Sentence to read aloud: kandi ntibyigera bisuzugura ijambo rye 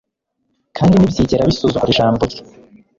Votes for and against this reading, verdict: 3, 0, accepted